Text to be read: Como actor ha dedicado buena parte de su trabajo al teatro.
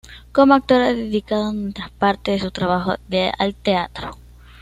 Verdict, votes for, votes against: rejected, 1, 2